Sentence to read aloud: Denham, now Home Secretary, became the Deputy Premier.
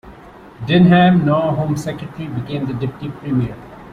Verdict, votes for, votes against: rejected, 0, 2